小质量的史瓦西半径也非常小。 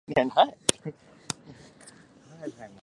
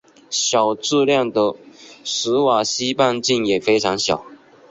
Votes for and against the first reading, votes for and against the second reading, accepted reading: 0, 3, 2, 1, second